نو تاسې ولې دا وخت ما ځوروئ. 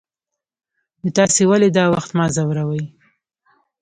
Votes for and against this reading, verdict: 2, 0, accepted